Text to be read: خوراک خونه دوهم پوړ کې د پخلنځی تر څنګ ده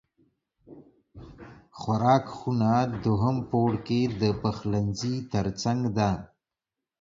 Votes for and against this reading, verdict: 1, 2, rejected